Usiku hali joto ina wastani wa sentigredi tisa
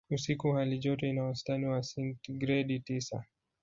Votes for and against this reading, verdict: 1, 2, rejected